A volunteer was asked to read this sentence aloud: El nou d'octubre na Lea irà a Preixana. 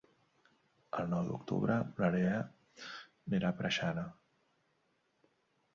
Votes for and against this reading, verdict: 0, 2, rejected